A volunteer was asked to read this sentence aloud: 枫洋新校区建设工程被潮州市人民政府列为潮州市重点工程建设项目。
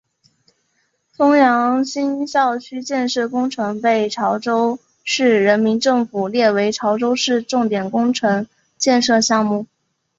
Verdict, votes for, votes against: accepted, 3, 0